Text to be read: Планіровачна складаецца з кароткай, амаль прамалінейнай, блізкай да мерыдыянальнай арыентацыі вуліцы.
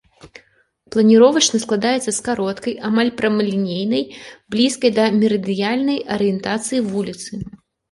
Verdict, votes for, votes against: accepted, 2, 0